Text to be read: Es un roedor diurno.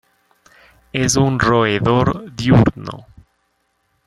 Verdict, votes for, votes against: accepted, 2, 1